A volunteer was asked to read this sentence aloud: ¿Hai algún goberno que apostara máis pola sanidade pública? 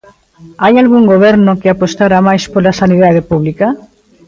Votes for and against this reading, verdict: 0, 2, rejected